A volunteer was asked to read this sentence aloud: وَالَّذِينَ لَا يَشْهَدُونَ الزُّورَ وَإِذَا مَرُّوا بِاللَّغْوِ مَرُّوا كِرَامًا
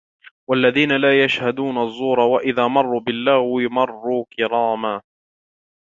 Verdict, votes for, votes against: accepted, 2, 0